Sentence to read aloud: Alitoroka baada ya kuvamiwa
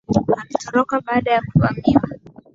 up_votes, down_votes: 2, 1